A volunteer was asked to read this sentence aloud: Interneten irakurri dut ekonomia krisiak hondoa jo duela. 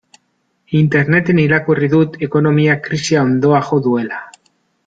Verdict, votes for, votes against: rejected, 0, 2